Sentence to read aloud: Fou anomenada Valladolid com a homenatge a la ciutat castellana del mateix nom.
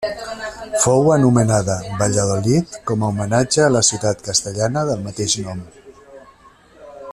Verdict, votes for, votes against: rejected, 1, 2